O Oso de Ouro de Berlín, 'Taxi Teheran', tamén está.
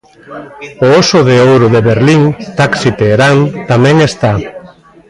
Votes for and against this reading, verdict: 1, 2, rejected